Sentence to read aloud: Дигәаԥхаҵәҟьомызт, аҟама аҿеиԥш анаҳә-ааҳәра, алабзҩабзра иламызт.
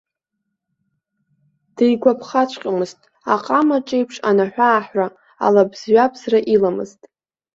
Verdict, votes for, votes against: accepted, 2, 0